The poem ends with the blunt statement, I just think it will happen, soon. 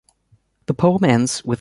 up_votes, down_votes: 1, 2